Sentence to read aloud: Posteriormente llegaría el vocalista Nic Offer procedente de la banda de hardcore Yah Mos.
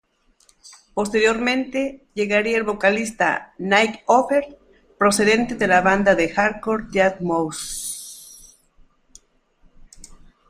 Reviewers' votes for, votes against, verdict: 1, 2, rejected